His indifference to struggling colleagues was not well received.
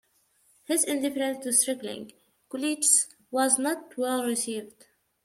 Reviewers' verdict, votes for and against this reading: rejected, 0, 2